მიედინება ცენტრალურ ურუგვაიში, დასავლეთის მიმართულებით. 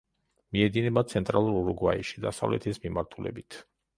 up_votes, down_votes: 2, 0